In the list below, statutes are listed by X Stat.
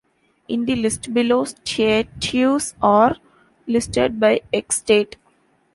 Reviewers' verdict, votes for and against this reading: rejected, 0, 2